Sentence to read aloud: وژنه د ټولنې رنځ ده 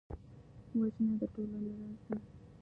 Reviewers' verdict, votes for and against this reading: rejected, 0, 2